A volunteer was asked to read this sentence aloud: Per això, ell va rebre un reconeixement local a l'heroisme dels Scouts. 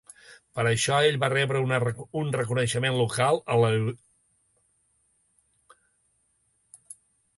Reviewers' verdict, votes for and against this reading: rejected, 0, 2